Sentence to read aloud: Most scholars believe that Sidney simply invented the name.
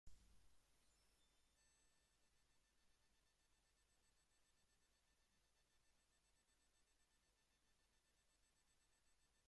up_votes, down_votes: 0, 2